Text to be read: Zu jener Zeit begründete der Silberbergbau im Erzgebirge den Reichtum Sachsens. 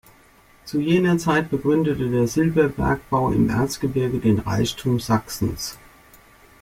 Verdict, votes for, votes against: accepted, 2, 0